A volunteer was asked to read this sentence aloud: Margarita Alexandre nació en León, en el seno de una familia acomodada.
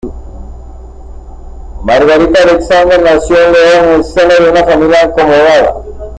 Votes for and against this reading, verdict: 1, 2, rejected